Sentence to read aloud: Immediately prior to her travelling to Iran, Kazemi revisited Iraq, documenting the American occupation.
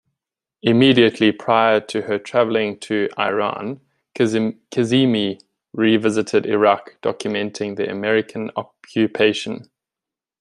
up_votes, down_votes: 0, 2